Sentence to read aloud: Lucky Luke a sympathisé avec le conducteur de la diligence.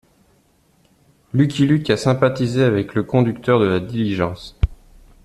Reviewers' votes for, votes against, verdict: 2, 0, accepted